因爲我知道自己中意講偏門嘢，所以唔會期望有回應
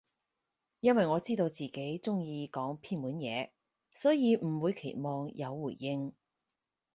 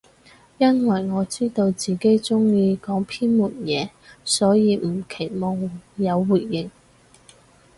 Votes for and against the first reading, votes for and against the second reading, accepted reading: 4, 0, 0, 4, first